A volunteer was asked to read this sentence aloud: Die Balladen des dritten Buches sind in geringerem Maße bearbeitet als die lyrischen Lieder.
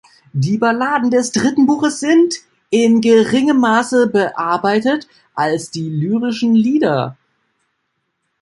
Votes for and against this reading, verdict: 0, 2, rejected